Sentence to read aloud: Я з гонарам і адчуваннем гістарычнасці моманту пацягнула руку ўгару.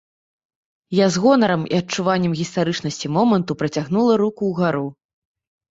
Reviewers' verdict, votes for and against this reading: rejected, 0, 2